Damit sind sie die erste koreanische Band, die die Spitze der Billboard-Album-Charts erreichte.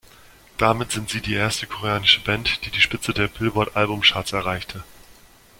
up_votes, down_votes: 2, 0